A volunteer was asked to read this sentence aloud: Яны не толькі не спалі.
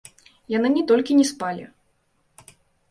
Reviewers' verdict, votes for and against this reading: accepted, 2, 0